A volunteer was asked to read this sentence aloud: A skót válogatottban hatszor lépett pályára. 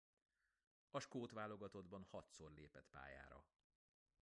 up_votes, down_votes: 2, 0